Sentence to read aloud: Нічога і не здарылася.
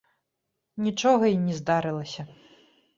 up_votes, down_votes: 2, 0